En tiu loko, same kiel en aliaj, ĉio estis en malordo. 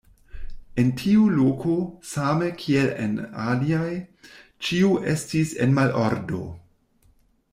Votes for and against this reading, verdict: 1, 2, rejected